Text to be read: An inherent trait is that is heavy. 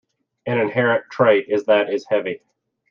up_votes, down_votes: 2, 0